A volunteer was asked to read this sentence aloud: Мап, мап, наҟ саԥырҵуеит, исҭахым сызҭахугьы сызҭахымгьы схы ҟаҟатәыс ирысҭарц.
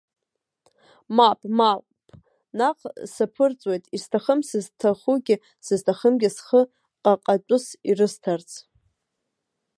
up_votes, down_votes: 1, 2